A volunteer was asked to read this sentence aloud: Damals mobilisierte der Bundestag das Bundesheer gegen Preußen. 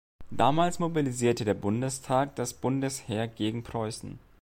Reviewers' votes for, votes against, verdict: 2, 0, accepted